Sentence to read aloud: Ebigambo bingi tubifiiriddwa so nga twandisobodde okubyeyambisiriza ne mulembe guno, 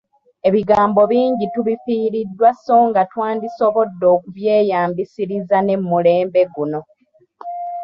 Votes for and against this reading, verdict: 2, 0, accepted